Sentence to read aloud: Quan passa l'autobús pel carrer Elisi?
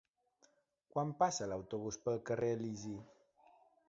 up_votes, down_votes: 1, 2